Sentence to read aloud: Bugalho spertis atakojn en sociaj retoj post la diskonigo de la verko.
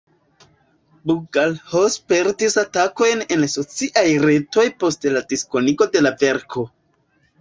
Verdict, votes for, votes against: accepted, 2, 0